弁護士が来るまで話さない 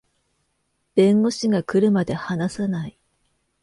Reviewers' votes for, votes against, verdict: 2, 0, accepted